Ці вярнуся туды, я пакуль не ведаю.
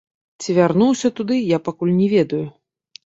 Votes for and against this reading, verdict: 2, 1, accepted